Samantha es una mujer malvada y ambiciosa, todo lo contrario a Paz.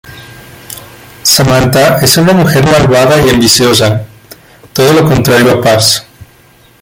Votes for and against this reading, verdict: 0, 2, rejected